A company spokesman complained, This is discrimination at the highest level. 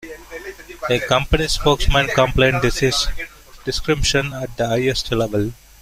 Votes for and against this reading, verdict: 0, 2, rejected